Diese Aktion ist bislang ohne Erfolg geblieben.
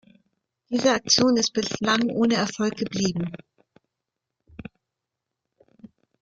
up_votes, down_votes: 1, 2